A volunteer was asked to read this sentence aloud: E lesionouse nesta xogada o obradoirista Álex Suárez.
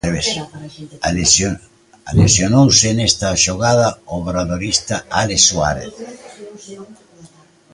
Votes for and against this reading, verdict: 0, 2, rejected